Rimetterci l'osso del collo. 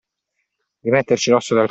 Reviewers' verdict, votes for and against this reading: accepted, 2, 1